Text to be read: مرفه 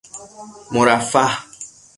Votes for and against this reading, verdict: 6, 0, accepted